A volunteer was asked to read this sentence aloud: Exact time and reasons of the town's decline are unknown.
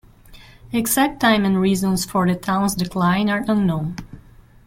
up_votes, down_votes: 0, 2